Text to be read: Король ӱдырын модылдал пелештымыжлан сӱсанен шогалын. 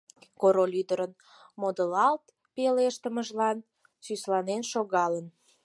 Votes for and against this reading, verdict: 4, 8, rejected